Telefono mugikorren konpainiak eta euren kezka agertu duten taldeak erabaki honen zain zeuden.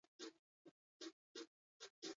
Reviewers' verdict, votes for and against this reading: rejected, 0, 6